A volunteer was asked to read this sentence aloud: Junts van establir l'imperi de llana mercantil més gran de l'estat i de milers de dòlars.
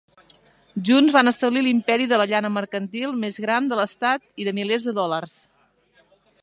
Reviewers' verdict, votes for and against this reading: accepted, 2, 1